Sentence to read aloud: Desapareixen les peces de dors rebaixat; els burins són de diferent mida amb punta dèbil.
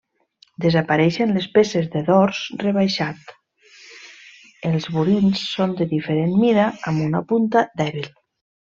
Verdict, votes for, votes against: rejected, 1, 2